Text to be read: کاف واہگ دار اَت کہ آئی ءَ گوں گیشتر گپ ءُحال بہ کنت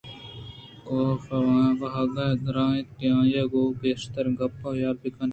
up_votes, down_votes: 0, 2